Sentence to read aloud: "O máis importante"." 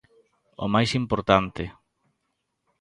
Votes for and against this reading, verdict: 2, 0, accepted